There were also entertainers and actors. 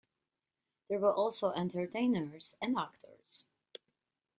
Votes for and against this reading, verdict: 2, 1, accepted